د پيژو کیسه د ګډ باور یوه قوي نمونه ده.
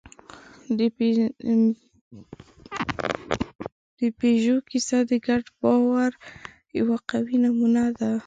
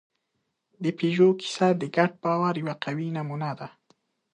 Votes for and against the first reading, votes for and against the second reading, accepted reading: 0, 2, 2, 1, second